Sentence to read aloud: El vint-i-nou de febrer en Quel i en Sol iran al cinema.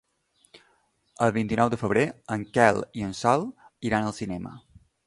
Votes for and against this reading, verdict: 2, 0, accepted